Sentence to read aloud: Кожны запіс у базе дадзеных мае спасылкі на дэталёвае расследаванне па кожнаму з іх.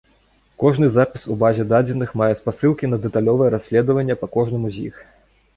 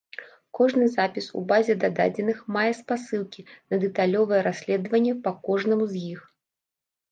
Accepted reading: first